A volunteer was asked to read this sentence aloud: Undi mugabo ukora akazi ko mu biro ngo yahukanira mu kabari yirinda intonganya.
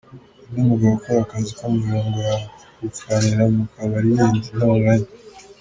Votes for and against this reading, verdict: 2, 1, accepted